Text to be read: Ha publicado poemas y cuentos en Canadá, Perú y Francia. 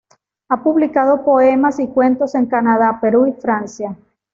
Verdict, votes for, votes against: accepted, 2, 0